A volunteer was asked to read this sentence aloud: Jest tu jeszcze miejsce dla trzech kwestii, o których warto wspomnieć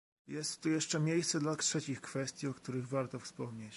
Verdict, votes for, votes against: rejected, 0, 2